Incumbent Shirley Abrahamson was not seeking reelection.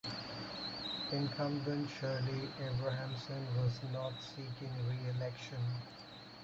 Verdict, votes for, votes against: rejected, 0, 4